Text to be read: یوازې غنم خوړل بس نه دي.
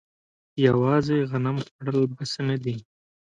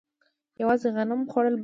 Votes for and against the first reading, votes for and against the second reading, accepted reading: 2, 0, 0, 2, first